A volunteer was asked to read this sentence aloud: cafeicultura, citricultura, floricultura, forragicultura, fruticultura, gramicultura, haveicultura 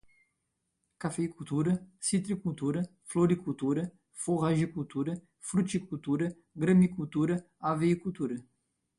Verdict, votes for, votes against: accepted, 2, 0